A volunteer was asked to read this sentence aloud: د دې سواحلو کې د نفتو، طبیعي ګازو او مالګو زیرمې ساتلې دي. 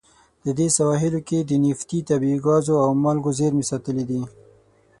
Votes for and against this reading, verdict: 3, 6, rejected